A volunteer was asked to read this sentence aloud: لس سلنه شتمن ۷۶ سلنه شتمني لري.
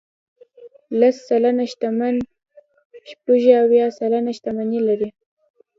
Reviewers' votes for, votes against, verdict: 0, 2, rejected